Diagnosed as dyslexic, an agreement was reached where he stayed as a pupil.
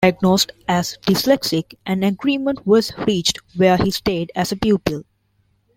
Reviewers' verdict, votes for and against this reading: rejected, 1, 2